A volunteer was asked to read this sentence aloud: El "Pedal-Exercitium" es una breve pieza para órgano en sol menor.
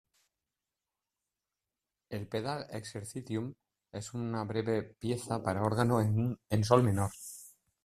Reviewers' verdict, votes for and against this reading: rejected, 1, 2